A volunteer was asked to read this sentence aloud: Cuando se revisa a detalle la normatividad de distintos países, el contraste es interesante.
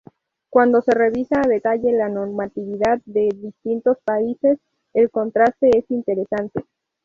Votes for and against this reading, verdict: 0, 2, rejected